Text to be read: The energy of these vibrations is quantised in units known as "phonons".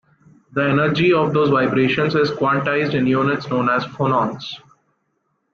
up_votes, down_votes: 1, 2